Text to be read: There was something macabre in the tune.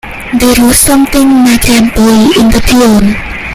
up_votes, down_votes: 0, 2